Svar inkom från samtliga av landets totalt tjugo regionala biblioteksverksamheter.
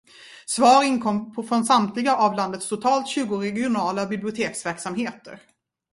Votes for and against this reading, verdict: 1, 2, rejected